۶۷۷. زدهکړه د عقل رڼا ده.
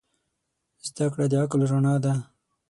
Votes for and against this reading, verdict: 0, 2, rejected